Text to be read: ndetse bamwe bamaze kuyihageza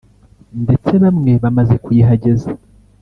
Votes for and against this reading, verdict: 2, 0, accepted